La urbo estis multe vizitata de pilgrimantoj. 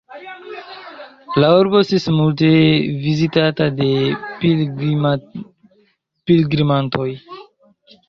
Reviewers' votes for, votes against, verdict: 0, 2, rejected